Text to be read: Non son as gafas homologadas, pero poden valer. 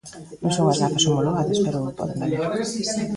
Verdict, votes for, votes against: rejected, 0, 3